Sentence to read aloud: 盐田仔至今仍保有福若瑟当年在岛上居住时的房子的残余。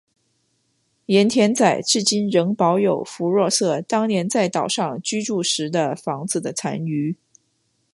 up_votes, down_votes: 2, 0